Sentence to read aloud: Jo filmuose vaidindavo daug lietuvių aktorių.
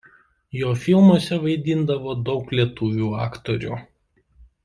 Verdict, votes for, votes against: accepted, 2, 0